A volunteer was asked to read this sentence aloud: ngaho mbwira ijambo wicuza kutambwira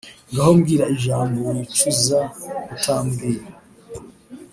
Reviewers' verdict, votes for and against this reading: accepted, 2, 0